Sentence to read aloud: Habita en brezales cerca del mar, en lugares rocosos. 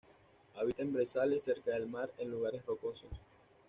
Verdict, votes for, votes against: rejected, 1, 2